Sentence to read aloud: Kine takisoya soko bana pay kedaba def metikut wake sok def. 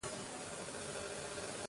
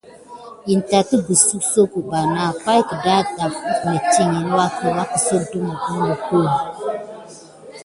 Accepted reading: second